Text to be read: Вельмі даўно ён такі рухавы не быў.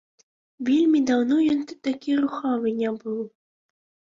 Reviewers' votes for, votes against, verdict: 1, 2, rejected